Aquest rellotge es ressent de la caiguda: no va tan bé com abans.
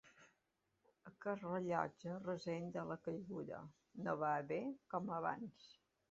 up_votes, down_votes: 1, 3